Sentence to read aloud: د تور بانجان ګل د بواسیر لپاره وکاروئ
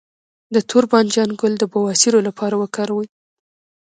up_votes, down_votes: 1, 2